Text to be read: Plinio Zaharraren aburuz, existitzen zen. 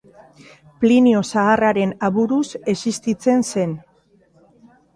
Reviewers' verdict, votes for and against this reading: accepted, 2, 0